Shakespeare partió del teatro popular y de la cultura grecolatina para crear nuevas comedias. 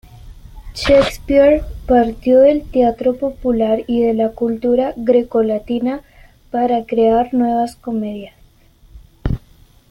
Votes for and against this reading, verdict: 2, 1, accepted